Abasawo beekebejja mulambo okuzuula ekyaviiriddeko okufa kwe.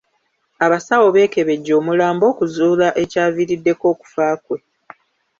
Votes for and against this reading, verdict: 1, 2, rejected